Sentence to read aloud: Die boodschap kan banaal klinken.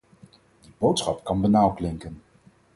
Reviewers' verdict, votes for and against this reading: rejected, 0, 4